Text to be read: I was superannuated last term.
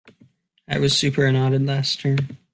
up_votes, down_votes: 2, 1